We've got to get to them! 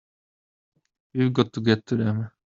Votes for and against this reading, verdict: 0, 2, rejected